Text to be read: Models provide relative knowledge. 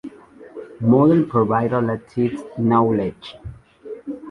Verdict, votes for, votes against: rejected, 0, 2